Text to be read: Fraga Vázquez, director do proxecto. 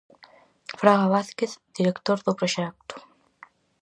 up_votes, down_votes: 4, 0